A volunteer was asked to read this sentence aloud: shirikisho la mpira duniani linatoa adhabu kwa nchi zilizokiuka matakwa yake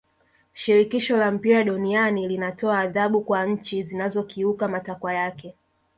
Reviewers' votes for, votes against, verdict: 1, 2, rejected